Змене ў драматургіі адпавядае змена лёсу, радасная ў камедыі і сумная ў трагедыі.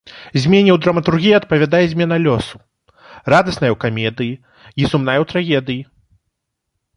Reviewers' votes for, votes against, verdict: 2, 1, accepted